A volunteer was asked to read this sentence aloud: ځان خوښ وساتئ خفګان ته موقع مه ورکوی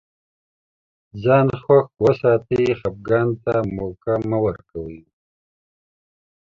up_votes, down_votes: 2, 1